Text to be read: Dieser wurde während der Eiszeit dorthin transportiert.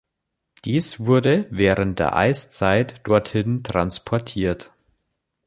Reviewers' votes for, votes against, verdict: 0, 2, rejected